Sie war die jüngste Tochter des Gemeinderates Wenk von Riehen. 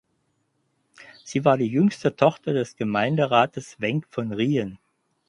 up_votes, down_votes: 6, 0